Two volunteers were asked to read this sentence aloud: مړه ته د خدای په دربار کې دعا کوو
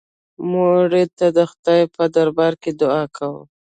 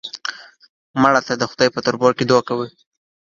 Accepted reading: second